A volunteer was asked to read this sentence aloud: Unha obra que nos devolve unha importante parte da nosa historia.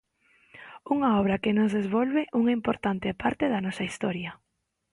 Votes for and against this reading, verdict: 2, 0, accepted